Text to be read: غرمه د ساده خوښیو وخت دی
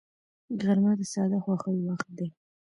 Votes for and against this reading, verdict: 2, 1, accepted